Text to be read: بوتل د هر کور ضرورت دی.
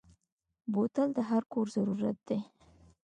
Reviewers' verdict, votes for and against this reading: accepted, 2, 0